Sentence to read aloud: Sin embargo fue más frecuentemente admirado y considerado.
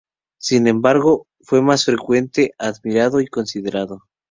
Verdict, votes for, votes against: rejected, 0, 2